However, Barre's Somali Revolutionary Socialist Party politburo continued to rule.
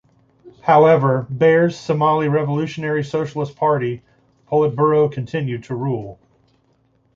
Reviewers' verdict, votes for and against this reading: accepted, 2, 0